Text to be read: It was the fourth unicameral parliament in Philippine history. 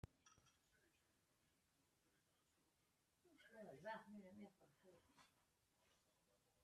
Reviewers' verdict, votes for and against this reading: rejected, 0, 2